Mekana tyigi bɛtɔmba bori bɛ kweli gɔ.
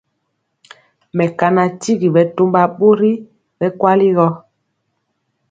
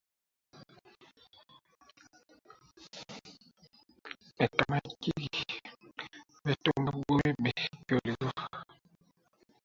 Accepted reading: first